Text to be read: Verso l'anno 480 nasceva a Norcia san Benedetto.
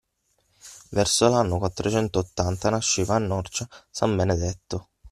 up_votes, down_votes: 0, 2